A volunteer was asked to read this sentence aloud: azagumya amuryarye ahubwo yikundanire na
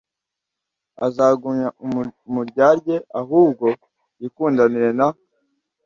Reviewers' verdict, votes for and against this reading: rejected, 1, 2